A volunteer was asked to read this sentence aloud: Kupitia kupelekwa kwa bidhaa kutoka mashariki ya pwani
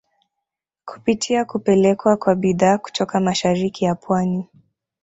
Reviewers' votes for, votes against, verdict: 2, 1, accepted